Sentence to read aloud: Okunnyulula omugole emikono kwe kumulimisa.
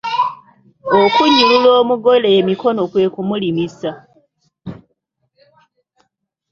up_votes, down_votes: 2, 0